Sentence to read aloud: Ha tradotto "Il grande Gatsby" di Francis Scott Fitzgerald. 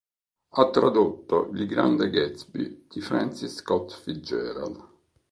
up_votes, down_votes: 2, 0